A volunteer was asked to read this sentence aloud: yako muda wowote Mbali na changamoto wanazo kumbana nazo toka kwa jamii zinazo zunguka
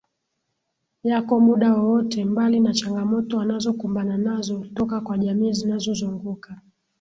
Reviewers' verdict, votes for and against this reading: rejected, 0, 2